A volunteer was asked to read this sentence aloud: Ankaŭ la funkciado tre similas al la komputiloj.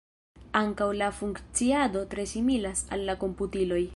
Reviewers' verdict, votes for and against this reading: accepted, 2, 1